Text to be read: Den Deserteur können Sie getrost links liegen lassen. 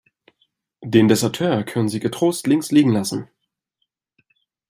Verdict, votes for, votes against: accepted, 2, 0